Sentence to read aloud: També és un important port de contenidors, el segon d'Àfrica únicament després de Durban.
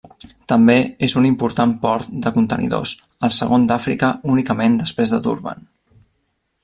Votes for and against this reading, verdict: 1, 2, rejected